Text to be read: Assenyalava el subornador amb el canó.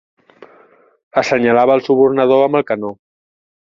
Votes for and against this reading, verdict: 2, 0, accepted